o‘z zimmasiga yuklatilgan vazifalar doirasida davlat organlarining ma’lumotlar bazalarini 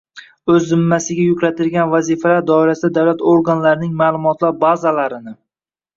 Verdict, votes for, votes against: rejected, 1, 2